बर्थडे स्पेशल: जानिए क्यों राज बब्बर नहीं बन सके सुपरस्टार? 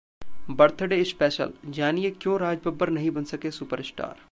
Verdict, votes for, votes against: rejected, 1, 2